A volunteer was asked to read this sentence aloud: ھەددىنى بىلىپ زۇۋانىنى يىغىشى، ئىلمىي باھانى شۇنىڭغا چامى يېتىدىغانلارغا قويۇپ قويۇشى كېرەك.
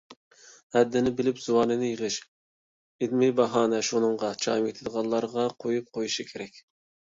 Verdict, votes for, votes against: rejected, 1, 2